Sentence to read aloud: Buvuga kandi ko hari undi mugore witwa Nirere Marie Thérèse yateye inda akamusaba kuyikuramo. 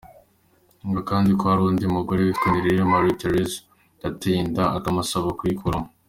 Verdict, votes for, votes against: accepted, 2, 0